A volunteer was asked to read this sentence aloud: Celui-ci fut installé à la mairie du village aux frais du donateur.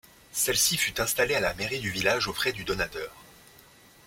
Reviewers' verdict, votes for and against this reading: rejected, 0, 2